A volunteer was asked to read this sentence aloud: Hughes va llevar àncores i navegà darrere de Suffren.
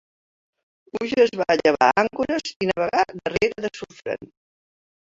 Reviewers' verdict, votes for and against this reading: rejected, 0, 2